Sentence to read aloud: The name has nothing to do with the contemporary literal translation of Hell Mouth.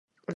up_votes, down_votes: 0, 2